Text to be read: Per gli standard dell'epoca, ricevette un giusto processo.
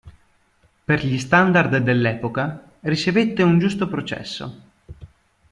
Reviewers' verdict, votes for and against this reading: accepted, 2, 1